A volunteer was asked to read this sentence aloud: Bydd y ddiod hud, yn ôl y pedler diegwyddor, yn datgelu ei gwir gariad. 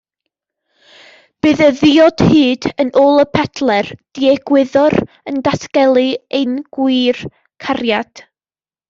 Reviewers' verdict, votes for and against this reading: rejected, 1, 2